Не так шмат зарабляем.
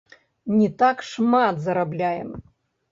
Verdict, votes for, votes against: rejected, 0, 2